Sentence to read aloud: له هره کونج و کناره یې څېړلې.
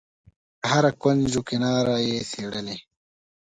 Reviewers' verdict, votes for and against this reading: accepted, 2, 0